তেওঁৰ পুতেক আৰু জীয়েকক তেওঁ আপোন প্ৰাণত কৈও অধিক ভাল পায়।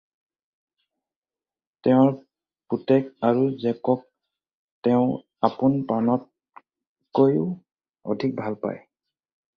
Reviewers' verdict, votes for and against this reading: rejected, 0, 2